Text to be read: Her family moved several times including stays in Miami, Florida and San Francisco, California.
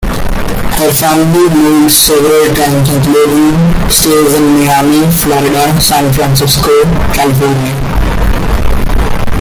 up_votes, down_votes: 1, 2